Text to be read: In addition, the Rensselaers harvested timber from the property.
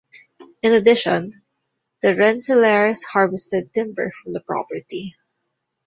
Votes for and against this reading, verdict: 2, 0, accepted